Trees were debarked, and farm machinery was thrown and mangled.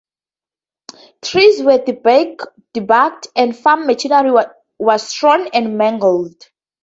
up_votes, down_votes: 0, 2